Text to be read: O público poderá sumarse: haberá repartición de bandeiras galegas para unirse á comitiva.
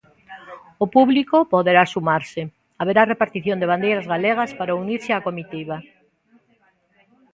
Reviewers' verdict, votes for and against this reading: accepted, 2, 1